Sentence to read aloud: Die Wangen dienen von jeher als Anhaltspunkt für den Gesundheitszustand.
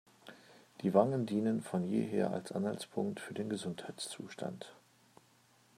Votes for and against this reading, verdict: 2, 1, accepted